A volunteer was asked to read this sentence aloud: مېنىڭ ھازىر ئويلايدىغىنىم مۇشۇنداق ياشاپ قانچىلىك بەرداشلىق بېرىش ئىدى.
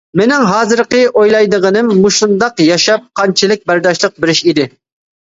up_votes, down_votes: 0, 2